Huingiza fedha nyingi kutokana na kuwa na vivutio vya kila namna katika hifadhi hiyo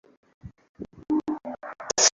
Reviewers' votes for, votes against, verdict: 0, 2, rejected